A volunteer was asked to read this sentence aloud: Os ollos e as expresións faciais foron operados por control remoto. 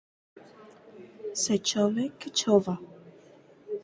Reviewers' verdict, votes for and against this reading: rejected, 0, 4